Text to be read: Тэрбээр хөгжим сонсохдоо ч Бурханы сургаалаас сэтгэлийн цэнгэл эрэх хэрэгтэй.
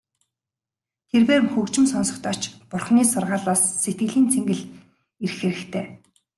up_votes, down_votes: 2, 2